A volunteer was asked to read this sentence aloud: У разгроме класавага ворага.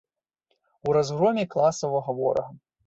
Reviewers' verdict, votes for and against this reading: accepted, 2, 0